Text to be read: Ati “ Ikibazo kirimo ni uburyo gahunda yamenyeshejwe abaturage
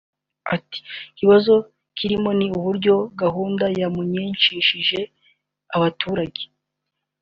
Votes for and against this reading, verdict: 1, 2, rejected